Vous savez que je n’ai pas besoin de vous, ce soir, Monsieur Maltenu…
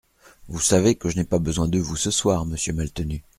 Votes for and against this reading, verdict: 2, 0, accepted